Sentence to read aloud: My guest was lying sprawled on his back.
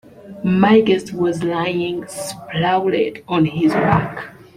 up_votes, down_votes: 2, 0